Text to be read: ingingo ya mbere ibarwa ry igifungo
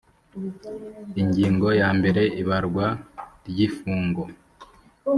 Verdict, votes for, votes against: rejected, 2, 4